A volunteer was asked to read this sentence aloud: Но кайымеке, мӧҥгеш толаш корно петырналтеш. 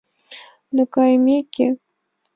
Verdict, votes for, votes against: accepted, 2, 1